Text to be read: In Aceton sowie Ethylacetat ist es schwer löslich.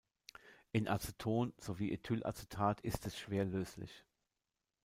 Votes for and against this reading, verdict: 2, 0, accepted